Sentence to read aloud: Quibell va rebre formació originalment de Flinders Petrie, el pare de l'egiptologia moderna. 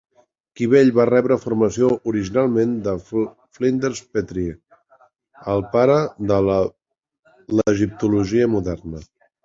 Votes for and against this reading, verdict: 0, 2, rejected